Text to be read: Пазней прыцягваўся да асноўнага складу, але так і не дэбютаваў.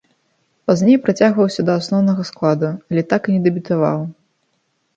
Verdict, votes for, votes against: accepted, 2, 0